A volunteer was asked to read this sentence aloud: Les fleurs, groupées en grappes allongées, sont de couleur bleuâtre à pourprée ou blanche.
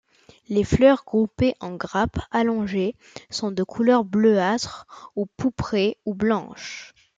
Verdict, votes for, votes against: rejected, 0, 2